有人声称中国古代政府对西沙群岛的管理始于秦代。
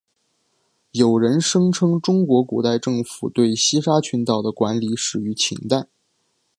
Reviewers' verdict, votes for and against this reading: accepted, 2, 1